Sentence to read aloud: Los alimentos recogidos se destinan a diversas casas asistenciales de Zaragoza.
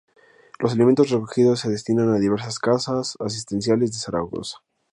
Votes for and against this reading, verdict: 2, 0, accepted